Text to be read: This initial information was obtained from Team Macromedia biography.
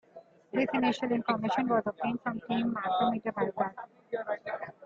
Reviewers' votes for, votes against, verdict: 0, 2, rejected